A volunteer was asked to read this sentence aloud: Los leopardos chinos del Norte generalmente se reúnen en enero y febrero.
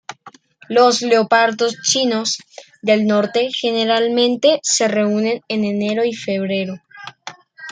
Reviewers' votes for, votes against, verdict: 2, 0, accepted